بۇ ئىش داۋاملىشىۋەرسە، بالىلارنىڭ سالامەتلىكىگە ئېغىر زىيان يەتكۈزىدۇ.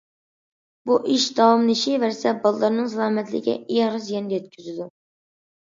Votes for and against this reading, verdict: 2, 0, accepted